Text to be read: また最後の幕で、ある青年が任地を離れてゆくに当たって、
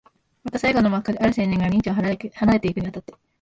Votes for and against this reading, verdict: 0, 2, rejected